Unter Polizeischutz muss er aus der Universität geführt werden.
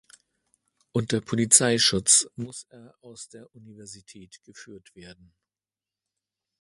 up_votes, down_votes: 1, 2